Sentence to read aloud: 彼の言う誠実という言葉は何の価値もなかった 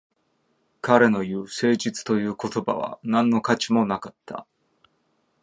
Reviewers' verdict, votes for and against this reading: accepted, 2, 0